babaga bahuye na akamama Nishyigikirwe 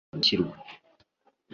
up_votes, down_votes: 0, 2